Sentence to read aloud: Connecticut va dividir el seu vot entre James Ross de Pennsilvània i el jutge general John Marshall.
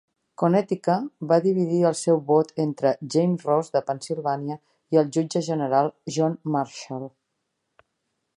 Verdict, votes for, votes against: accepted, 2, 1